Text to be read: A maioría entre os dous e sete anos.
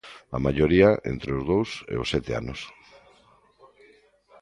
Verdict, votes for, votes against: rejected, 0, 2